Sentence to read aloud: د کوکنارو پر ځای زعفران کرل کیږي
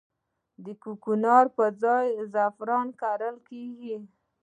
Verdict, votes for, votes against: rejected, 1, 2